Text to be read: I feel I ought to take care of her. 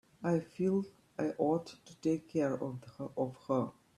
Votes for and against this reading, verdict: 1, 2, rejected